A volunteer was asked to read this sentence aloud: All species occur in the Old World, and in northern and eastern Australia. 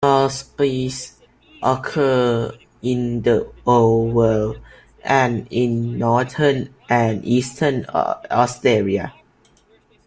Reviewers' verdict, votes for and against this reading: rejected, 0, 2